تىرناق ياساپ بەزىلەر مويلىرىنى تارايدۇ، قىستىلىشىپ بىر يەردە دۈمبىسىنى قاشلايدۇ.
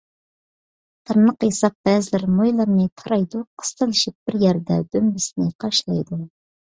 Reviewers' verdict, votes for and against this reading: accepted, 2, 0